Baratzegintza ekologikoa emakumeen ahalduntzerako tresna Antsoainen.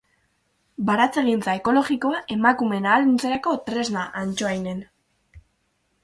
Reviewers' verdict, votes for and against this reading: accepted, 4, 0